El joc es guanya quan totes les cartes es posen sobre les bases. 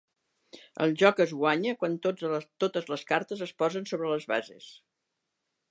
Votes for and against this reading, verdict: 1, 2, rejected